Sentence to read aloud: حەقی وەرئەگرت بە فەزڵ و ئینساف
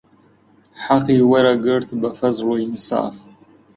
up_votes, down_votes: 3, 0